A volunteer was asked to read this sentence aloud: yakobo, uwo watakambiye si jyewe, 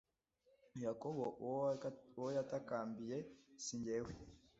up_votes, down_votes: 1, 2